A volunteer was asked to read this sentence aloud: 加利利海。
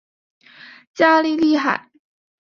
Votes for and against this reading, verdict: 2, 0, accepted